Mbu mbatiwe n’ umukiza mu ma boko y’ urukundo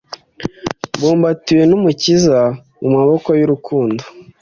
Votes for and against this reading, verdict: 2, 0, accepted